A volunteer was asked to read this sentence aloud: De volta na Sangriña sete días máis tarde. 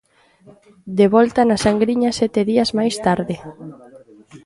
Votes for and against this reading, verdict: 2, 0, accepted